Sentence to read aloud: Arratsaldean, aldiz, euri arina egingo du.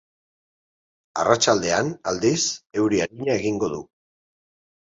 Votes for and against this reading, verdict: 14, 6, accepted